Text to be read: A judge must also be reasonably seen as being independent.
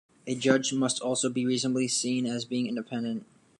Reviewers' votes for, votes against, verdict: 2, 0, accepted